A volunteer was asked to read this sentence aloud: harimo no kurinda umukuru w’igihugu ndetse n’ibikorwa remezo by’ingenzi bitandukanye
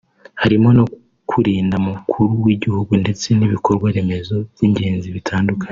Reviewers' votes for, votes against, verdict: 2, 0, accepted